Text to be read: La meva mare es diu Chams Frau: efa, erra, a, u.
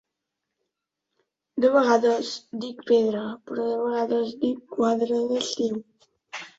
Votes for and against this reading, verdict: 0, 2, rejected